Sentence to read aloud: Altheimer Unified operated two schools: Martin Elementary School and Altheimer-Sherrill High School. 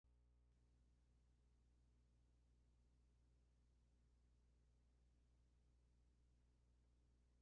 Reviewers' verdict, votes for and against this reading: rejected, 0, 2